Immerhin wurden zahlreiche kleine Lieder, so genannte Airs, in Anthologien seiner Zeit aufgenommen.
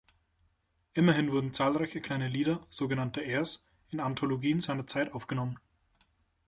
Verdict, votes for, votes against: accepted, 2, 0